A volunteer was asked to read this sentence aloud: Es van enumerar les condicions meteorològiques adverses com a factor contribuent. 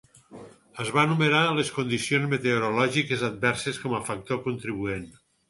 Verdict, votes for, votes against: rejected, 2, 4